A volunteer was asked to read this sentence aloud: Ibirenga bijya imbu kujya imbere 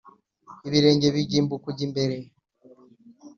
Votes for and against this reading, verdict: 3, 1, accepted